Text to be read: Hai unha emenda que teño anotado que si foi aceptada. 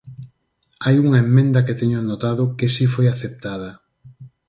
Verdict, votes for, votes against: rejected, 2, 4